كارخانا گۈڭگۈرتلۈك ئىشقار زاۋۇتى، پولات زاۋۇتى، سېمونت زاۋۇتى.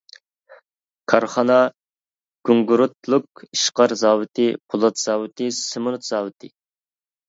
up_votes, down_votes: 1, 2